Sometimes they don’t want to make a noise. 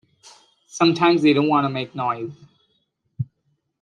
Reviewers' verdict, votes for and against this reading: rejected, 1, 2